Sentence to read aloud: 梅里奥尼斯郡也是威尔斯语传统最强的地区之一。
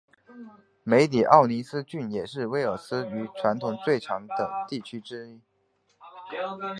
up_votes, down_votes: 2, 0